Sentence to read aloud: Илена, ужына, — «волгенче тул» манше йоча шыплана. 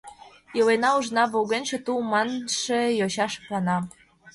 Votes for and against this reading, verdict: 2, 0, accepted